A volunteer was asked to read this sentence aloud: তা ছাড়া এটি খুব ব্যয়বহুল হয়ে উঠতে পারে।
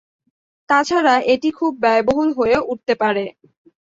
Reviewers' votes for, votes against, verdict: 2, 0, accepted